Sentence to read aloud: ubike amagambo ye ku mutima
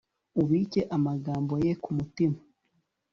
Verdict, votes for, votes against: rejected, 1, 2